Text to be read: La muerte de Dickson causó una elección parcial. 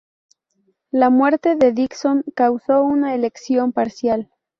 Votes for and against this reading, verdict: 2, 0, accepted